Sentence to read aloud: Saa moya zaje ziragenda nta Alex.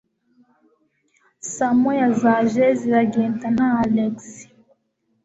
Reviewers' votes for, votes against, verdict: 3, 0, accepted